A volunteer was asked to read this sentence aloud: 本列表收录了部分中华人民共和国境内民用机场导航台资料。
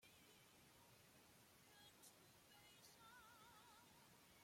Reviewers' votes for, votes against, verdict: 0, 2, rejected